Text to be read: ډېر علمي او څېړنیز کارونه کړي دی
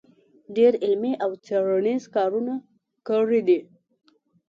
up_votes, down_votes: 2, 0